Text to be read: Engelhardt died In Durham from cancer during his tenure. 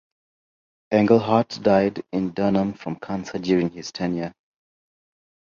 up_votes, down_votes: 0, 2